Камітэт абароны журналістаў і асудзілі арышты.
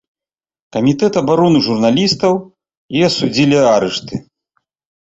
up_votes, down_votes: 2, 0